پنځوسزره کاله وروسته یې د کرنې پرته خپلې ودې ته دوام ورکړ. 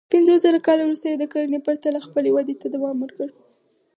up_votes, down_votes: 4, 2